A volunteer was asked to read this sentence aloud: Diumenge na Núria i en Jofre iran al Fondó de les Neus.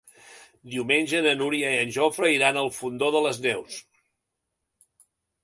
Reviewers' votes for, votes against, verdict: 2, 0, accepted